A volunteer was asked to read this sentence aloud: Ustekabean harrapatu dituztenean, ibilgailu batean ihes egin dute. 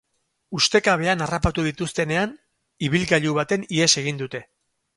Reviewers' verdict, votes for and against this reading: accepted, 2, 0